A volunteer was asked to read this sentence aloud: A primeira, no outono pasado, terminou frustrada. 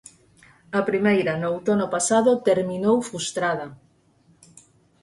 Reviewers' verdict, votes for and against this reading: rejected, 0, 4